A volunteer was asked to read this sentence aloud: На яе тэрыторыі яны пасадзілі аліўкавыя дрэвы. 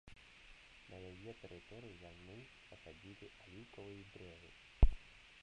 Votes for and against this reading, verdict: 0, 2, rejected